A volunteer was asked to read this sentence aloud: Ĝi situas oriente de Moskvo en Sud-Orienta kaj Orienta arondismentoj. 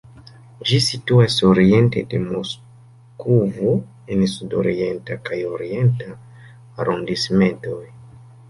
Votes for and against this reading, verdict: 1, 3, rejected